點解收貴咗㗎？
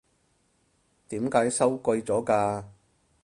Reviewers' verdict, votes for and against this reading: accepted, 4, 0